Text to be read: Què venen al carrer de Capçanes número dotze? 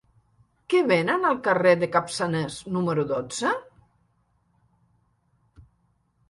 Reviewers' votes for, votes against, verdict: 5, 0, accepted